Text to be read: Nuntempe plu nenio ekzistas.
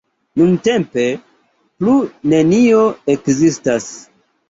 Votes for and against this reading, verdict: 2, 0, accepted